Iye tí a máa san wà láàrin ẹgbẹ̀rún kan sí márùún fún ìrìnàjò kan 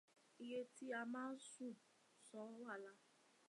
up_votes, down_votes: 1, 2